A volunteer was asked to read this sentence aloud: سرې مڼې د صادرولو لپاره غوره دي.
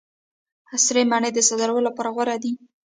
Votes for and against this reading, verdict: 0, 2, rejected